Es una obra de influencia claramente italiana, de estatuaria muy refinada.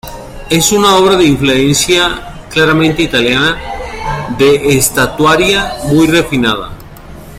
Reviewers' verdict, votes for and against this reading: accepted, 2, 1